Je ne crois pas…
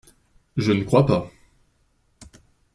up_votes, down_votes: 2, 0